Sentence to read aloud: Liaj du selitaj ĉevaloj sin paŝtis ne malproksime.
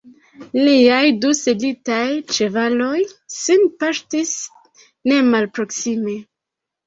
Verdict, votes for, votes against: rejected, 0, 2